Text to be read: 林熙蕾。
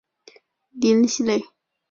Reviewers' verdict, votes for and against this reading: accepted, 2, 1